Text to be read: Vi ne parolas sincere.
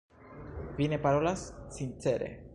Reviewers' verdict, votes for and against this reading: rejected, 1, 2